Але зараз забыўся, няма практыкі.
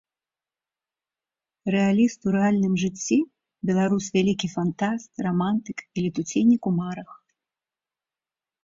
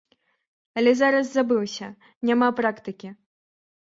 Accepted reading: second